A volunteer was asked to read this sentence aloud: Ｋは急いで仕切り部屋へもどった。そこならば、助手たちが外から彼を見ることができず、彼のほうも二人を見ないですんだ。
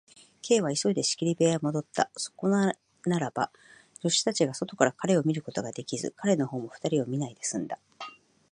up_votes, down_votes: 1, 2